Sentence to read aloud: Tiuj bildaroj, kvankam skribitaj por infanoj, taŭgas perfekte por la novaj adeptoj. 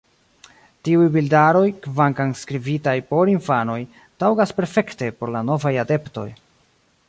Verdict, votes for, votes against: rejected, 0, 2